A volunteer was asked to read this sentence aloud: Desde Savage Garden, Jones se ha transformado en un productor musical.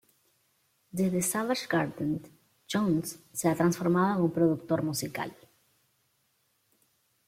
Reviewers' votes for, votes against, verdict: 2, 0, accepted